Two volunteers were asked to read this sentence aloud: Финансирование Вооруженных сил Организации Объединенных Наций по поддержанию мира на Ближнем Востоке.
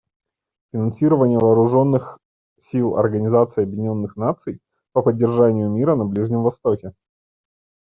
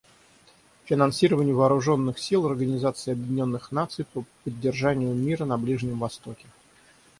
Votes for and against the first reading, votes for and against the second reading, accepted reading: 2, 0, 3, 3, first